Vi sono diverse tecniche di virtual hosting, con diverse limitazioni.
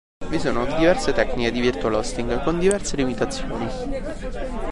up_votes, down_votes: 1, 2